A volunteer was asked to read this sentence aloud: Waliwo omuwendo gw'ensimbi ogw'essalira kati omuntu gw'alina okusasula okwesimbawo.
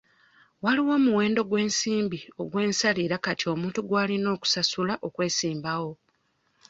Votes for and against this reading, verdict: 0, 2, rejected